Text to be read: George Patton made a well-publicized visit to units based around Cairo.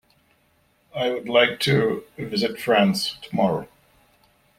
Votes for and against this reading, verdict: 0, 2, rejected